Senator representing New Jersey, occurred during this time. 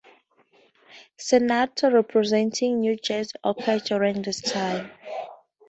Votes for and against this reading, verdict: 0, 2, rejected